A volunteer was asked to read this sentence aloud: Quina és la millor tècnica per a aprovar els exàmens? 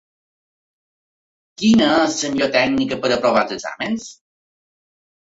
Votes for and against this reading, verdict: 1, 3, rejected